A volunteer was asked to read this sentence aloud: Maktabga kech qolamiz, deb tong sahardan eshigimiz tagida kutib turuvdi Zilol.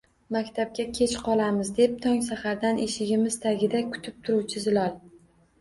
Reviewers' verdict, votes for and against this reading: rejected, 1, 2